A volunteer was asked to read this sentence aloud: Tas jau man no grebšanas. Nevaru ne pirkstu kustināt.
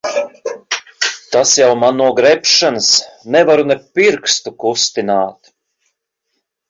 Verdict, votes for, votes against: rejected, 1, 2